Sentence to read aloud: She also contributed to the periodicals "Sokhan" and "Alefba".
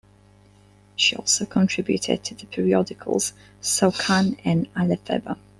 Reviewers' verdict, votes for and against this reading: rejected, 1, 2